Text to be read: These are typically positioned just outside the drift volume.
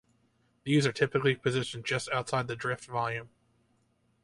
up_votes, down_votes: 2, 0